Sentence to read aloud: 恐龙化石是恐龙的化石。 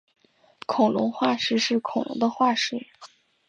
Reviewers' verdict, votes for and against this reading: accepted, 4, 0